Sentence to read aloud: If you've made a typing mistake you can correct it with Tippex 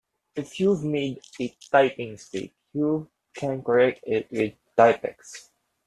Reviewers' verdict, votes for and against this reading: accepted, 2, 1